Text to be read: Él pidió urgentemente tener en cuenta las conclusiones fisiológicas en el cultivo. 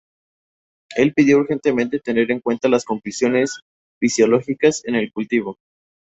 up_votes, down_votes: 2, 2